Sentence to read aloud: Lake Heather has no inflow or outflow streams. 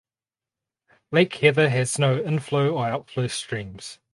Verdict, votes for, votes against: accepted, 4, 2